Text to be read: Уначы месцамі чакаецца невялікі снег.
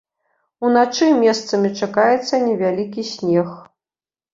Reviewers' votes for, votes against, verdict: 2, 0, accepted